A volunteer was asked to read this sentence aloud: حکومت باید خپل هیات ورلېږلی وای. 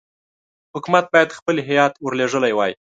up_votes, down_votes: 3, 1